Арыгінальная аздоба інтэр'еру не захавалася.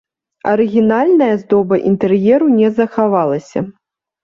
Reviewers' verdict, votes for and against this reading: accepted, 2, 1